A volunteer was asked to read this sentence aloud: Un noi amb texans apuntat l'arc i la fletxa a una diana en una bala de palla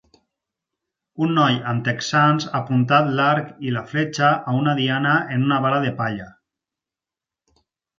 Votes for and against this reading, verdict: 4, 0, accepted